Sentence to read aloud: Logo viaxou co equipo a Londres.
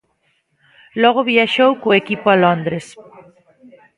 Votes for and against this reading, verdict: 1, 2, rejected